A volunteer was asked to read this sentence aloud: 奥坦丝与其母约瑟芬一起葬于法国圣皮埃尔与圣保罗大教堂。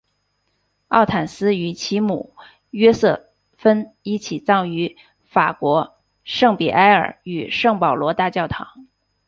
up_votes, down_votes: 2, 0